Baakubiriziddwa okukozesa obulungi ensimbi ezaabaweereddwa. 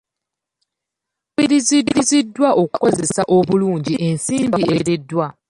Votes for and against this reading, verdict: 1, 2, rejected